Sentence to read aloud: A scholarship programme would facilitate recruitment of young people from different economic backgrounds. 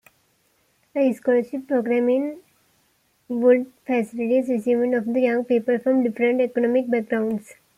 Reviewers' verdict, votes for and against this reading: rejected, 1, 2